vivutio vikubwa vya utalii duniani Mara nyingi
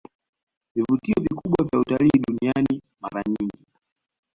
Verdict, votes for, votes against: accepted, 2, 0